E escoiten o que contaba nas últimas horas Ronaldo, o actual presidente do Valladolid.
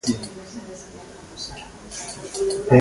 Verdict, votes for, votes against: rejected, 0, 2